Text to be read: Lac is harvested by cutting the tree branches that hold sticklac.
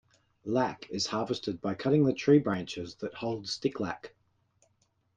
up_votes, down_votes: 2, 0